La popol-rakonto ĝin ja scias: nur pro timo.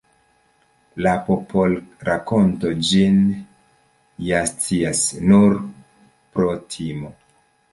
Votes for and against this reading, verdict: 2, 0, accepted